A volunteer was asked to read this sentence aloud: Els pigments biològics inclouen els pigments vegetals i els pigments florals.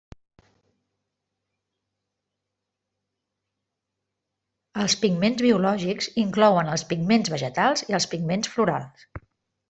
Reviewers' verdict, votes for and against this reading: rejected, 1, 2